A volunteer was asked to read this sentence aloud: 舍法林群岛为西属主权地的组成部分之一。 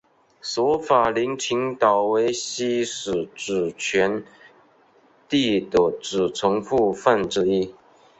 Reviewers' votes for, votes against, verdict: 2, 0, accepted